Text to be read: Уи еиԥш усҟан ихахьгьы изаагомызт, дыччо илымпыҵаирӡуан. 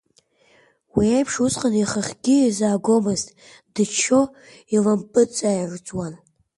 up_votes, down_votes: 1, 2